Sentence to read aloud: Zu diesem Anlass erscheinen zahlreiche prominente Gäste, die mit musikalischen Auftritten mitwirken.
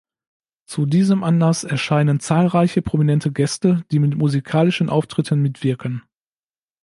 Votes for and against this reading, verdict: 2, 0, accepted